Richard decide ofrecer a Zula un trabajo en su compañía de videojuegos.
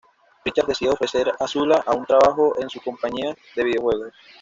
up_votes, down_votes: 1, 2